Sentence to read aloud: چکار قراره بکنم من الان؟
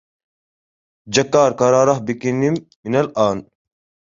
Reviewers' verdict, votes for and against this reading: rejected, 1, 2